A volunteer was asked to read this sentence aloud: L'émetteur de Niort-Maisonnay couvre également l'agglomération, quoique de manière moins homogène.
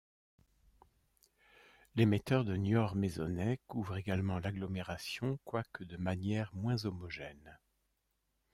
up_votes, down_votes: 2, 0